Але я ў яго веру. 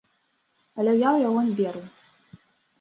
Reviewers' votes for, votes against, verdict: 0, 2, rejected